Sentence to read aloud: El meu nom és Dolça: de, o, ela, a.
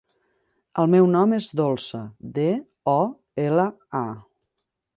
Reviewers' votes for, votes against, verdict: 3, 0, accepted